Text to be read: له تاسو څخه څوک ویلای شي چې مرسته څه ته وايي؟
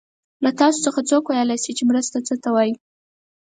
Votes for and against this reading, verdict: 4, 0, accepted